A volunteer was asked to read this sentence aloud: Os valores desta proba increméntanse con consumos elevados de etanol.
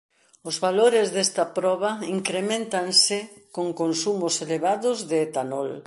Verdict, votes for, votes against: accepted, 2, 0